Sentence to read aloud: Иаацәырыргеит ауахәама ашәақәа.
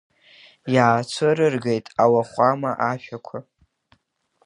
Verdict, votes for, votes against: accepted, 2, 0